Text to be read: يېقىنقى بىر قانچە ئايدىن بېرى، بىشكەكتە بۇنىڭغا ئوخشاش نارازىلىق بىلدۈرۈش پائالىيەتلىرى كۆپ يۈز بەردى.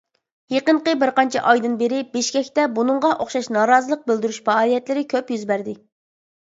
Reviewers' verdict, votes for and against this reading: accepted, 2, 0